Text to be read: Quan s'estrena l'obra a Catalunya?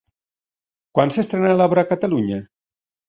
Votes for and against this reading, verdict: 2, 0, accepted